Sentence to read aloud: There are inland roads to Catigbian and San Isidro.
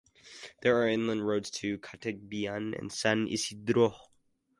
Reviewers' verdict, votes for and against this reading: accepted, 2, 0